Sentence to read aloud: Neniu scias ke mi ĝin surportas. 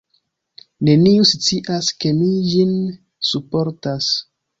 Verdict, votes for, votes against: rejected, 0, 2